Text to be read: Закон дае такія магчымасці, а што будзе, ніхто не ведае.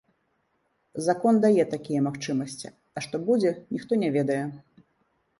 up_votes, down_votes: 2, 0